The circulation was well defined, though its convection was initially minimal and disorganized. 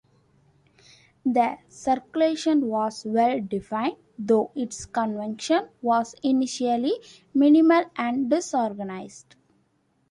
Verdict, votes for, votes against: rejected, 0, 2